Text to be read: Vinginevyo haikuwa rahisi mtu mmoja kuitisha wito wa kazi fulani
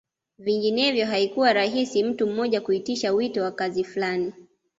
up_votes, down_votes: 2, 0